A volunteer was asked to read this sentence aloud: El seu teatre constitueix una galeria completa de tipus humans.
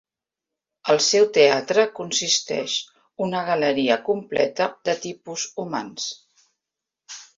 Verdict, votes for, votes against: rejected, 0, 3